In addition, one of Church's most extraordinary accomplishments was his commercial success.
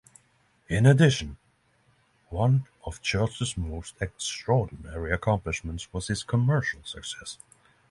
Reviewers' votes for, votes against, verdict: 3, 0, accepted